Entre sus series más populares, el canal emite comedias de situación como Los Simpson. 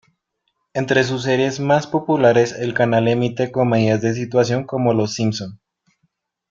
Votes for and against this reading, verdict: 1, 2, rejected